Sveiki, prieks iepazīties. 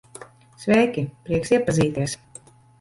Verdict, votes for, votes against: rejected, 1, 2